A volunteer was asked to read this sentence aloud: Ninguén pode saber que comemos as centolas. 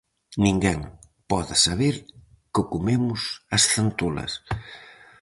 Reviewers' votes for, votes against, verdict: 4, 0, accepted